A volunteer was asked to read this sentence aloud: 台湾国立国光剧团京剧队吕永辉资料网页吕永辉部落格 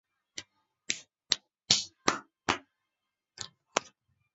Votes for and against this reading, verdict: 1, 3, rejected